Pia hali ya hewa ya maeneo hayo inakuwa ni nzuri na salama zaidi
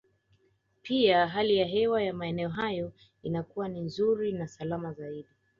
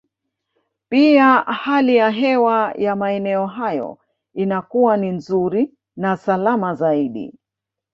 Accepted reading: first